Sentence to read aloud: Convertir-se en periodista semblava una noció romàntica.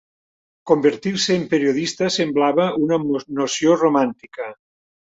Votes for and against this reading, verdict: 1, 2, rejected